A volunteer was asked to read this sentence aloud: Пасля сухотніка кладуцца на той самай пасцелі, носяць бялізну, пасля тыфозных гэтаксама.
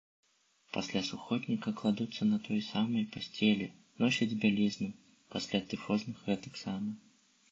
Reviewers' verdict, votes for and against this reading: rejected, 0, 2